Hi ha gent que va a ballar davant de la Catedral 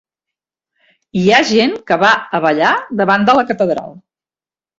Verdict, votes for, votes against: accepted, 3, 0